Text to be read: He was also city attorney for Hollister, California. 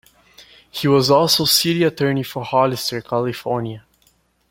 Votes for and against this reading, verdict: 2, 0, accepted